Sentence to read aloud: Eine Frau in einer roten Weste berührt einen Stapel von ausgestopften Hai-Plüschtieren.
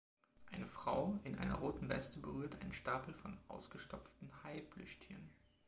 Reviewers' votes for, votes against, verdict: 1, 2, rejected